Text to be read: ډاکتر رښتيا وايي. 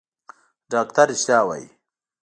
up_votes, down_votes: 0, 2